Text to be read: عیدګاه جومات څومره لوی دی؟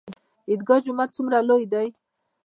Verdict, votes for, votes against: rejected, 1, 2